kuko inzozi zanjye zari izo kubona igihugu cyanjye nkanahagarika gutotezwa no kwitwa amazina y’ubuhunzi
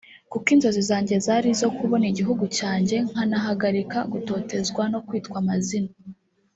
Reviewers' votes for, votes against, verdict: 0, 2, rejected